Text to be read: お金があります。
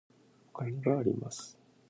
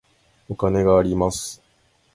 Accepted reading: second